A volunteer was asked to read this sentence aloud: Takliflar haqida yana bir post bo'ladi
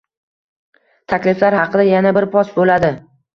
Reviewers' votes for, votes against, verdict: 2, 1, accepted